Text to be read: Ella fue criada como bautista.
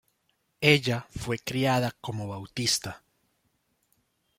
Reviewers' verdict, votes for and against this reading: accepted, 2, 0